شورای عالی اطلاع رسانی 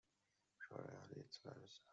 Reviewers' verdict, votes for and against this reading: rejected, 1, 2